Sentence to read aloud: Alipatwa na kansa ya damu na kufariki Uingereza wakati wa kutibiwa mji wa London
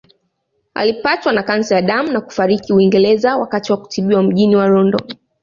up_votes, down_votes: 2, 1